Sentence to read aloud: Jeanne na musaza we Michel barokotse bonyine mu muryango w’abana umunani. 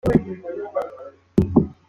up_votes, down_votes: 0, 2